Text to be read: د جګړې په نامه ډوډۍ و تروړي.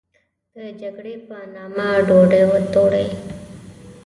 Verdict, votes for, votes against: rejected, 0, 2